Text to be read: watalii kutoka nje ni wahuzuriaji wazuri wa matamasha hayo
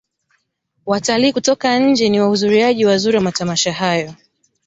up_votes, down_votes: 2, 0